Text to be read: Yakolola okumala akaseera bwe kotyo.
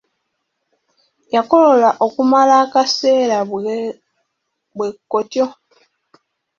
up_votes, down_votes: 1, 2